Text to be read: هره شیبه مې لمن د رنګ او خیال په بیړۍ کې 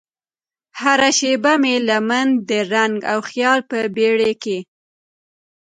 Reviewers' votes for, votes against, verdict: 2, 0, accepted